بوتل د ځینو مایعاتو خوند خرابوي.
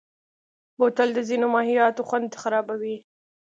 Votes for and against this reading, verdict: 2, 0, accepted